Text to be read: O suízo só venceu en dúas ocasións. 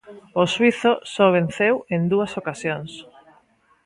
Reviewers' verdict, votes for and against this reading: accepted, 2, 1